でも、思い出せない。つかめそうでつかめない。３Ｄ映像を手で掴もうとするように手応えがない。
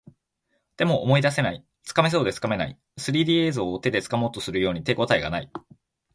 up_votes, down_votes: 0, 2